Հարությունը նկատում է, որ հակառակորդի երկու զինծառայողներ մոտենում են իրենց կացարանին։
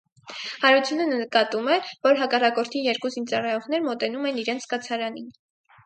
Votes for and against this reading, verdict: 4, 0, accepted